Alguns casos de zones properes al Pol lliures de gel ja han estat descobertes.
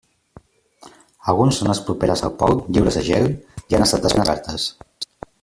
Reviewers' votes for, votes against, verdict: 0, 2, rejected